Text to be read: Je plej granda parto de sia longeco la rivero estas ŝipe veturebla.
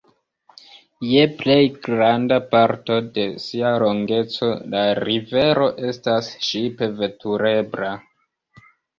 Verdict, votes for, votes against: rejected, 0, 2